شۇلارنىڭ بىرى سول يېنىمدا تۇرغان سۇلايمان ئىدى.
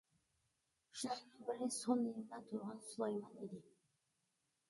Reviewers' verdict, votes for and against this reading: rejected, 0, 2